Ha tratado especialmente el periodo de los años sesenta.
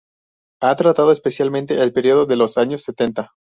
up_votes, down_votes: 0, 4